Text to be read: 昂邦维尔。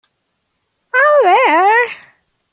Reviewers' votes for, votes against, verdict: 0, 2, rejected